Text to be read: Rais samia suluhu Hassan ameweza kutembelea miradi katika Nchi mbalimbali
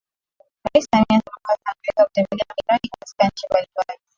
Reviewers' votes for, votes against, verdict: 0, 3, rejected